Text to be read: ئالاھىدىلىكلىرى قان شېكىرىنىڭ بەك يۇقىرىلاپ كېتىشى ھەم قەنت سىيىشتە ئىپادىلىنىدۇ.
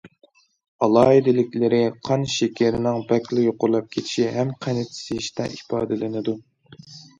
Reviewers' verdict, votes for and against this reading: rejected, 0, 2